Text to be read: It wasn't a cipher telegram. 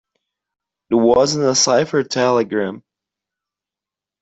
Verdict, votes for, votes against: accepted, 2, 1